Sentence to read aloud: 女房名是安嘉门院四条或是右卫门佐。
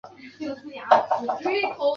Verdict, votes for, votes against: rejected, 0, 4